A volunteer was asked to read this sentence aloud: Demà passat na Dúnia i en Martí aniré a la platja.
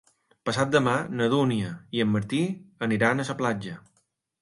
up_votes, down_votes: 1, 2